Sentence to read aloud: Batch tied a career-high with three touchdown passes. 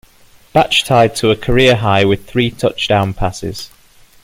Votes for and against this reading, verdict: 2, 1, accepted